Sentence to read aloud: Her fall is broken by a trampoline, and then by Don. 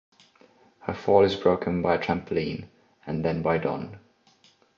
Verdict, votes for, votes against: rejected, 1, 2